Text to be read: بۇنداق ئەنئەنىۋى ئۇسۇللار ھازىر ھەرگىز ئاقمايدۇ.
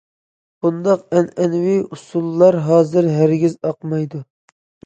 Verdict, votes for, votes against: accepted, 2, 0